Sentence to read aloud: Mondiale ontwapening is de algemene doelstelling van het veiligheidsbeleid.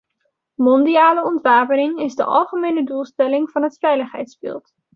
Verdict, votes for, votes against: rejected, 1, 2